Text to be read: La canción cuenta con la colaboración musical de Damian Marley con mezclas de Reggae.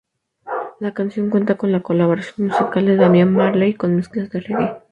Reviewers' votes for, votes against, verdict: 0, 2, rejected